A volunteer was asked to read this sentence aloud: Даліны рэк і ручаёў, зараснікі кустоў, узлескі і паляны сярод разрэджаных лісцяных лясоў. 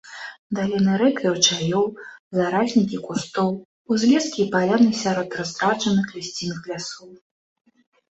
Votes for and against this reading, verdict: 0, 2, rejected